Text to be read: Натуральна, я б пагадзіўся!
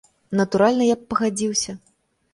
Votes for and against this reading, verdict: 3, 0, accepted